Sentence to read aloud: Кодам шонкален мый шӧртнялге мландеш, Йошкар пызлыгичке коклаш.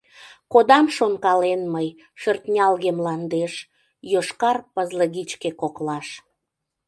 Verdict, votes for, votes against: accepted, 2, 0